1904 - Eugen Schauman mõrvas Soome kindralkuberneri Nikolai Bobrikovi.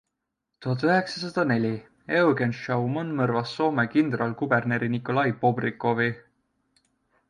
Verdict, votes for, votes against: rejected, 0, 2